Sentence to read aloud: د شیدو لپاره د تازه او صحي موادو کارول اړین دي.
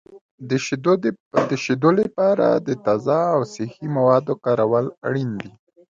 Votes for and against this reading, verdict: 1, 2, rejected